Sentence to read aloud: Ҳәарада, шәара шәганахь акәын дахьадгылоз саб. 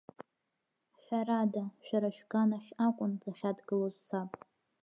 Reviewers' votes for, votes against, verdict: 5, 0, accepted